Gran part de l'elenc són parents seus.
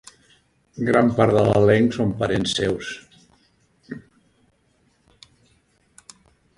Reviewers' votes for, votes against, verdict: 1, 2, rejected